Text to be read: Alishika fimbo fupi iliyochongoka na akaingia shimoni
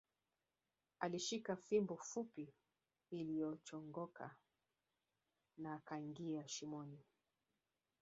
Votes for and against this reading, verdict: 2, 0, accepted